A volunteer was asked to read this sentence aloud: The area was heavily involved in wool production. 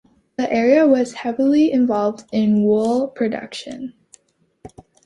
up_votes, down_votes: 2, 1